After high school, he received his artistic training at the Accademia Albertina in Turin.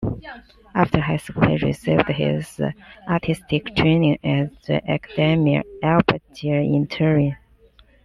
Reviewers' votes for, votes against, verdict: 1, 2, rejected